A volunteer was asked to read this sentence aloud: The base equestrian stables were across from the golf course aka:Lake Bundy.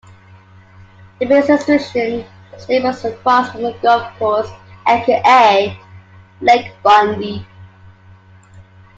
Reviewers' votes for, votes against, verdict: 0, 2, rejected